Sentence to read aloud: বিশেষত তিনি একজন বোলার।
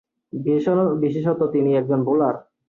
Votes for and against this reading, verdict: 1, 7, rejected